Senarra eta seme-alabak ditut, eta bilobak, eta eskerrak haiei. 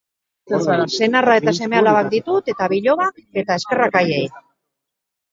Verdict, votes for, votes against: rejected, 0, 2